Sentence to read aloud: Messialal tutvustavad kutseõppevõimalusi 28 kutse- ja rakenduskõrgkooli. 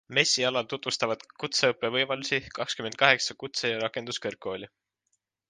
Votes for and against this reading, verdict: 0, 2, rejected